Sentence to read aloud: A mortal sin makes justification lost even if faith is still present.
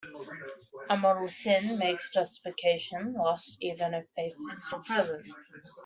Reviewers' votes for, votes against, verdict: 0, 2, rejected